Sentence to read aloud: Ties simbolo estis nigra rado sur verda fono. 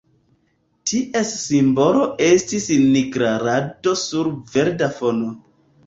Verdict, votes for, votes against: rejected, 1, 2